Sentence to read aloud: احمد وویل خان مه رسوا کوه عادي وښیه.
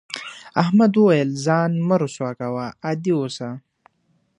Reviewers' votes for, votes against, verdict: 1, 2, rejected